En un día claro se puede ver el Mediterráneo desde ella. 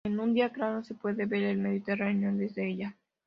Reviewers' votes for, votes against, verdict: 2, 0, accepted